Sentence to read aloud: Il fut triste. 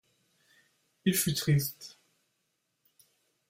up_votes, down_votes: 1, 2